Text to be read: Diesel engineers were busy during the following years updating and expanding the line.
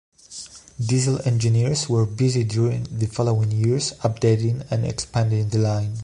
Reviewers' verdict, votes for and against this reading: accepted, 2, 0